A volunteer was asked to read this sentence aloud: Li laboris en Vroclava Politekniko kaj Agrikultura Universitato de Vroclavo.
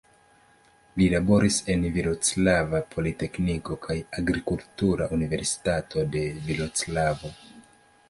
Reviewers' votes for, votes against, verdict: 1, 2, rejected